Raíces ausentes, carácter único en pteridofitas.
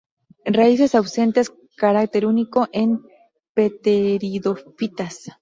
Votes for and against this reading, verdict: 2, 0, accepted